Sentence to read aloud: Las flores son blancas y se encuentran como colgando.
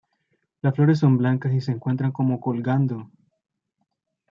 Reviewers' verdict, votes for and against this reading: accepted, 2, 0